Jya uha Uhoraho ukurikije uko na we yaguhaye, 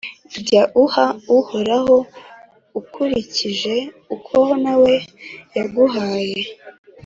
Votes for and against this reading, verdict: 3, 0, accepted